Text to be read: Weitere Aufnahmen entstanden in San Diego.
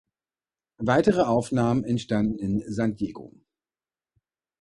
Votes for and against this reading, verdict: 2, 0, accepted